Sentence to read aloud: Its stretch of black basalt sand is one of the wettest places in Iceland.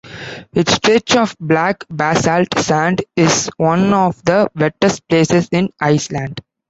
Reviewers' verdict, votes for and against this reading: accepted, 2, 0